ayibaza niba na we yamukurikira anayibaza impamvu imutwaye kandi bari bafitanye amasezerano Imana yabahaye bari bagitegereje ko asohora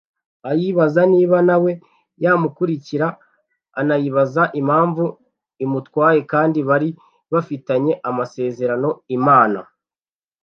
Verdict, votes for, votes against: rejected, 1, 2